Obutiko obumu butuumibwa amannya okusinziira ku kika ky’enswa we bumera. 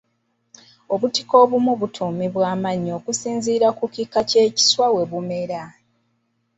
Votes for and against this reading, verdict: 0, 2, rejected